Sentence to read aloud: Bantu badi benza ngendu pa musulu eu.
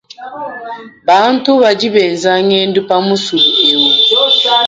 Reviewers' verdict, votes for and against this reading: rejected, 1, 2